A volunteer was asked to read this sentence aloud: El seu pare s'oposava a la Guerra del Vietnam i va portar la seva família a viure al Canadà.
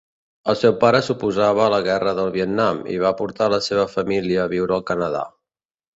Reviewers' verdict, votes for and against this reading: accepted, 2, 0